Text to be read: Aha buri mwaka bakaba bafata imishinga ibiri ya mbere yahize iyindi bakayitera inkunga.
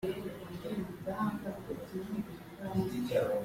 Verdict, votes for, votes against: rejected, 0, 2